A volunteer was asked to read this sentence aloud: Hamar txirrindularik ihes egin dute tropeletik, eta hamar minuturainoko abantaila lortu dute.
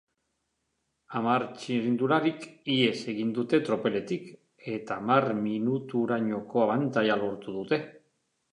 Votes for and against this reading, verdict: 3, 0, accepted